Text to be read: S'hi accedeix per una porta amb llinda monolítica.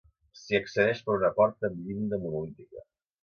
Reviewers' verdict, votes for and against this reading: accepted, 5, 0